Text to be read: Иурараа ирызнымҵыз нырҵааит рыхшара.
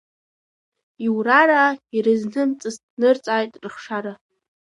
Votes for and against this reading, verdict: 0, 2, rejected